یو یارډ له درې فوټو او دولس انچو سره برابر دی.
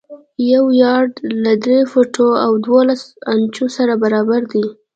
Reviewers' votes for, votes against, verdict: 2, 0, accepted